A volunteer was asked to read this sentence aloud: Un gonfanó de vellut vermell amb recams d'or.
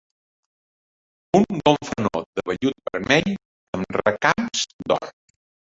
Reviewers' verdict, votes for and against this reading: rejected, 1, 2